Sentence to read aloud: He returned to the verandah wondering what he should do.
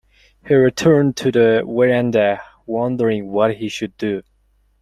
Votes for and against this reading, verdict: 2, 0, accepted